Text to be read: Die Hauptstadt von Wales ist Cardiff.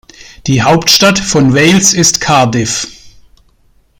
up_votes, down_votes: 3, 0